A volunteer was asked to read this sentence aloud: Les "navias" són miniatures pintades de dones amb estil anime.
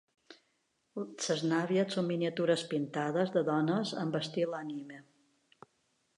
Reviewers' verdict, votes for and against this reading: rejected, 1, 2